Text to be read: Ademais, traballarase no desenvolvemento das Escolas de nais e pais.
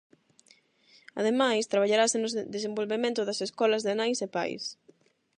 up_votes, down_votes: 0, 8